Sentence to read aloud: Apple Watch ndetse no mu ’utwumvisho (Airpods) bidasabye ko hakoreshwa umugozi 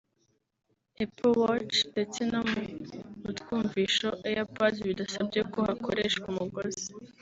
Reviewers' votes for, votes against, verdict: 2, 0, accepted